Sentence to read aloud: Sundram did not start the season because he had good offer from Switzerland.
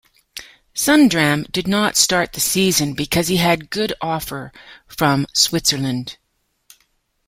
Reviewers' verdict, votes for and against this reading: accepted, 2, 1